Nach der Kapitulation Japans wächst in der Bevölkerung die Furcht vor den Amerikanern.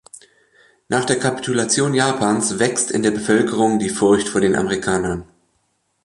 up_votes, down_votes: 2, 0